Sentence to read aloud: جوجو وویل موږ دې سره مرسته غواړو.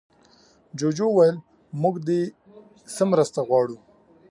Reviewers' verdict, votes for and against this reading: accepted, 2, 0